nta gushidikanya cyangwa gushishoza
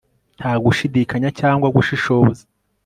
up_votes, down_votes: 3, 0